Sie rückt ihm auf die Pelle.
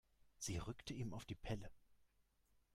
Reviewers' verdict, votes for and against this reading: rejected, 1, 2